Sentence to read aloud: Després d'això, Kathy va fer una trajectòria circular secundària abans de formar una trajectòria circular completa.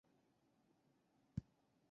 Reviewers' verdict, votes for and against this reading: rejected, 0, 2